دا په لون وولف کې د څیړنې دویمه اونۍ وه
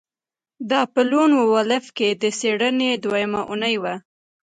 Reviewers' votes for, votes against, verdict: 2, 0, accepted